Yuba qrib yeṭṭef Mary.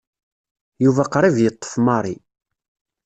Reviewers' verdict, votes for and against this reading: rejected, 0, 2